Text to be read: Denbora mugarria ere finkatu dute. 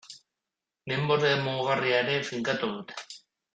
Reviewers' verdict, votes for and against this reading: rejected, 0, 2